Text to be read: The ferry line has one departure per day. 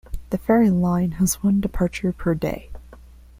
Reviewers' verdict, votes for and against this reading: accepted, 2, 0